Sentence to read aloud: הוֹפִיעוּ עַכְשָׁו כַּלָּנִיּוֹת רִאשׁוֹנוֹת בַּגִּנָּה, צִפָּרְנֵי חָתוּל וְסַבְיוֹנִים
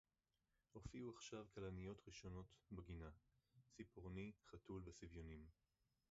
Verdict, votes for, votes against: rejected, 0, 2